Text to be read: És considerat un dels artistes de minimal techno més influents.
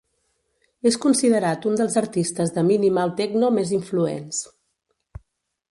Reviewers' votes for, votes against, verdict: 2, 0, accepted